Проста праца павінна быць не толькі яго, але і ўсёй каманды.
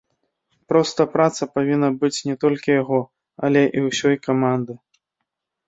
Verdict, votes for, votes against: accepted, 2, 0